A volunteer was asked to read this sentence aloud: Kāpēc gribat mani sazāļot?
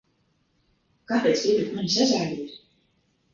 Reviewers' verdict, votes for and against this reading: rejected, 1, 2